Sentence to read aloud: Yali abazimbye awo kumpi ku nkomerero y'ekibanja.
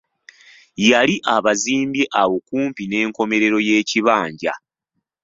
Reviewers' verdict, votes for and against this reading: rejected, 0, 2